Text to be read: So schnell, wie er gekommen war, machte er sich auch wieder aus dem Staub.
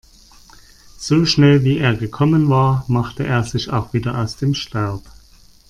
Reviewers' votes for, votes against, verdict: 2, 0, accepted